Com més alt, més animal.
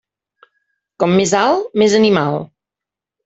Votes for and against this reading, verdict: 3, 0, accepted